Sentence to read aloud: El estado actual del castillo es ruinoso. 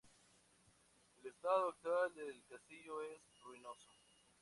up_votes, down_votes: 2, 0